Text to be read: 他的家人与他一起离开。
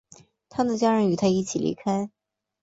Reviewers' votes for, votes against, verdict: 4, 0, accepted